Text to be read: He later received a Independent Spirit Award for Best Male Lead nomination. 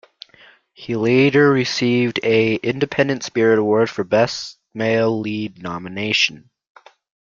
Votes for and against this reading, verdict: 2, 0, accepted